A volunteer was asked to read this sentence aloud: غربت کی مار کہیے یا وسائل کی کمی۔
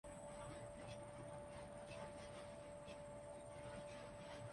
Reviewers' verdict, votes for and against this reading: rejected, 0, 5